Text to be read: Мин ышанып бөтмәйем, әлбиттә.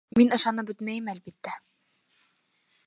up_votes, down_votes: 2, 0